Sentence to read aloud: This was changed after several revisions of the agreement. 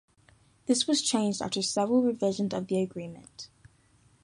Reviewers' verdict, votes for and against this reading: rejected, 0, 2